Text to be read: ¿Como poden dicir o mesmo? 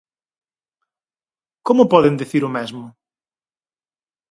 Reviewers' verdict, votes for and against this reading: rejected, 2, 2